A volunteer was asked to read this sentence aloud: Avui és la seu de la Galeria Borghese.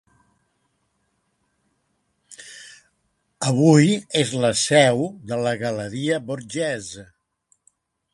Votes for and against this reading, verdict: 2, 0, accepted